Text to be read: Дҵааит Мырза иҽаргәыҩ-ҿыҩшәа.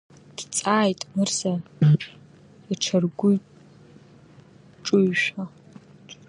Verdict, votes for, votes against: rejected, 0, 2